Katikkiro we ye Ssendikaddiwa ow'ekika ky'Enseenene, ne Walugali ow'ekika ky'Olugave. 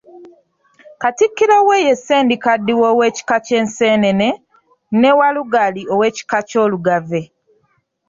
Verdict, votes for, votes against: accepted, 2, 0